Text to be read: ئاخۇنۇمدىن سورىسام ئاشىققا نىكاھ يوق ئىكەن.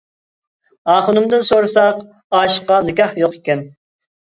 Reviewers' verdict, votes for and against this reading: rejected, 0, 2